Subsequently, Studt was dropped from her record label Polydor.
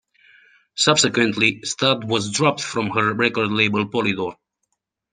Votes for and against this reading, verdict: 2, 0, accepted